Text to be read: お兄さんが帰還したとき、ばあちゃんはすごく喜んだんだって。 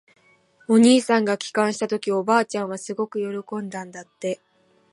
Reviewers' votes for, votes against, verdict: 1, 2, rejected